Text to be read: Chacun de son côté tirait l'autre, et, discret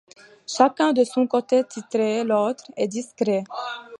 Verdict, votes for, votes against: rejected, 1, 2